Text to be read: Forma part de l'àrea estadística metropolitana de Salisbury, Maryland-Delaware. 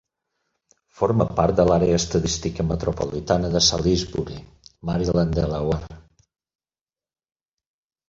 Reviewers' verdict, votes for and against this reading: rejected, 0, 4